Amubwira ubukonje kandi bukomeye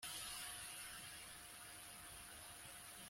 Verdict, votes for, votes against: rejected, 0, 2